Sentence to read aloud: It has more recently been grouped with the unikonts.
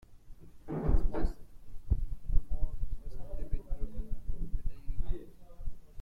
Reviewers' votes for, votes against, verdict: 0, 2, rejected